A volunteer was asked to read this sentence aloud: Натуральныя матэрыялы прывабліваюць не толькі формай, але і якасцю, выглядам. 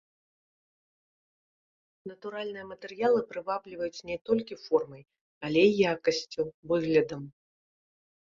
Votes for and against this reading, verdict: 1, 2, rejected